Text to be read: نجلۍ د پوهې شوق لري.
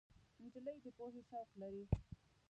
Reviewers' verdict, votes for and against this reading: rejected, 0, 2